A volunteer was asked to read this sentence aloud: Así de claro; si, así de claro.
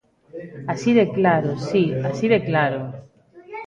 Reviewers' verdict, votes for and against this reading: accepted, 2, 0